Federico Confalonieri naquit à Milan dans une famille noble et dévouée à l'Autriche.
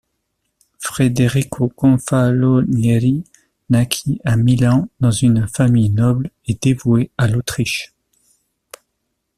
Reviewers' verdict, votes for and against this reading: rejected, 0, 2